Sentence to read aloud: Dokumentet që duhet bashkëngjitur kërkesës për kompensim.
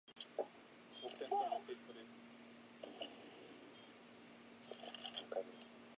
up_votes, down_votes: 0, 2